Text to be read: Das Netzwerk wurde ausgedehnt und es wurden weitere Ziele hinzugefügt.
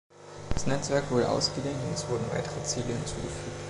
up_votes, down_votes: 1, 2